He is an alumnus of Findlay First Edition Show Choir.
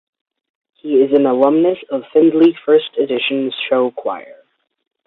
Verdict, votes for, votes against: accepted, 2, 0